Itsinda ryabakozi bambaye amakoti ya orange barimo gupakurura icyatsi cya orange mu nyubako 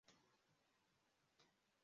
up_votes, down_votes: 0, 2